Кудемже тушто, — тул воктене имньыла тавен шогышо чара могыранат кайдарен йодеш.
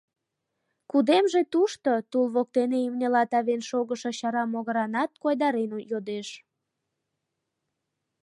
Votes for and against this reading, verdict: 1, 2, rejected